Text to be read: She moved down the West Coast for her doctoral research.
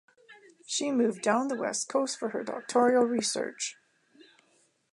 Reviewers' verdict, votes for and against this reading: accepted, 2, 0